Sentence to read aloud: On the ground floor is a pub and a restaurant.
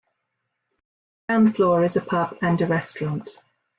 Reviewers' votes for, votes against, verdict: 1, 2, rejected